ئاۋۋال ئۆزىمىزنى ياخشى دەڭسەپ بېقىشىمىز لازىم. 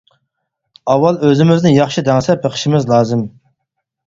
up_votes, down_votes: 4, 0